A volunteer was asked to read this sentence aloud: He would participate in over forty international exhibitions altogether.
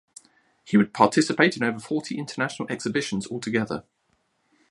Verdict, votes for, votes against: accepted, 2, 0